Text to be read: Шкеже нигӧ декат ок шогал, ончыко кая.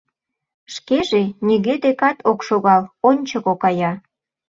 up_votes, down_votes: 2, 0